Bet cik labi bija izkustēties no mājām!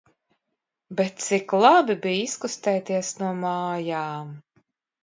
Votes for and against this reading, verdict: 2, 0, accepted